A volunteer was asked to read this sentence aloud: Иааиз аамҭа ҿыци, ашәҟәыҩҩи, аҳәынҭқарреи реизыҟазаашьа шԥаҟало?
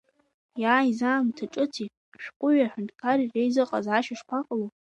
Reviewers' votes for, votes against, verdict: 1, 2, rejected